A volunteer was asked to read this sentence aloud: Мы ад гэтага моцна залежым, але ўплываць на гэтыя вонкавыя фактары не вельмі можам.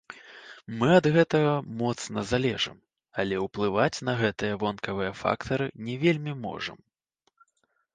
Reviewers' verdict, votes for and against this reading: rejected, 0, 2